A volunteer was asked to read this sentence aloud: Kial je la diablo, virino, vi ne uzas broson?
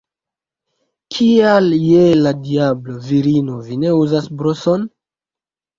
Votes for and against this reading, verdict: 2, 1, accepted